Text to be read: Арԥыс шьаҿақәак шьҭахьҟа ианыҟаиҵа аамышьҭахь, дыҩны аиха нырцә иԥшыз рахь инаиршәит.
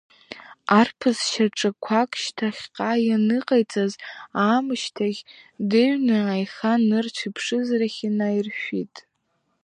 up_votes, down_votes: 2, 0